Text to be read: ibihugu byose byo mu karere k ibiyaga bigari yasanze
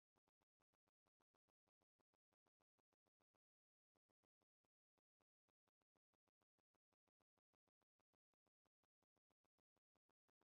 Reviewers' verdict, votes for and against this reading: rejected, 1, 2